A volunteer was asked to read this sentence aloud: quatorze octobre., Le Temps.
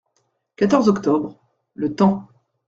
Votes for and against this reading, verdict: 2, 0, accepted